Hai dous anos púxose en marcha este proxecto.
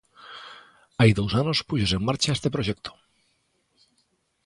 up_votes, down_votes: 2, 0